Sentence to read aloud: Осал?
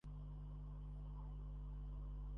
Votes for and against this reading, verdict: 0, 2, rejected